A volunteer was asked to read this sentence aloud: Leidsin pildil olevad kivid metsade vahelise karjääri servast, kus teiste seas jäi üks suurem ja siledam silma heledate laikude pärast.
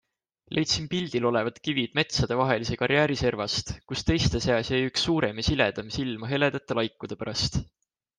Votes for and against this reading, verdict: 2, 0, accepted